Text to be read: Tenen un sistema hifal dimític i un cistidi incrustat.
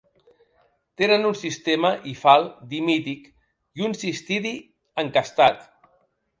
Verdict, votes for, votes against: rejected, 0, 2